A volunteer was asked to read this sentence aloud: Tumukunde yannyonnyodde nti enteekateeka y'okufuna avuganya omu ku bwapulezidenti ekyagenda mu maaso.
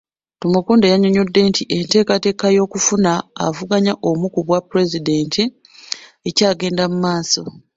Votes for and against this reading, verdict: 2, 1, accepted